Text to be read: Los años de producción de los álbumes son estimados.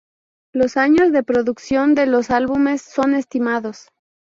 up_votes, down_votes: 2, 0